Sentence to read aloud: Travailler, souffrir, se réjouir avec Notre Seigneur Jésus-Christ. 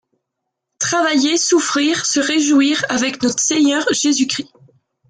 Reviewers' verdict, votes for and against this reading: accepted, 2, 0